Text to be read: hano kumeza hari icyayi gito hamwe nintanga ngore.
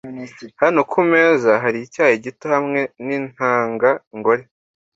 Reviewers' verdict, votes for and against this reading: accepted, 2, 0